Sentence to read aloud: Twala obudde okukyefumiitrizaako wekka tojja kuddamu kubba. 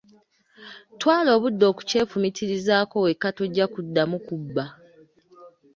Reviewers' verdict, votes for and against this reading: accepted, 2, 0